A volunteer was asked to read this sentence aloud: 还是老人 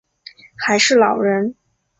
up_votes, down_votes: 3, 0